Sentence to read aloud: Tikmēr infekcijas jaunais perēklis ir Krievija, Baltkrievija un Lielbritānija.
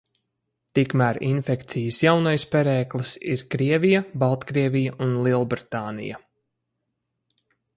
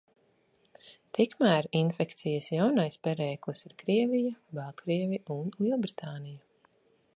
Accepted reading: first